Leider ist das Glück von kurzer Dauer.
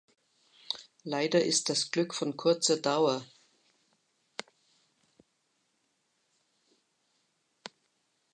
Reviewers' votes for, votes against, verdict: 2, 0, accepted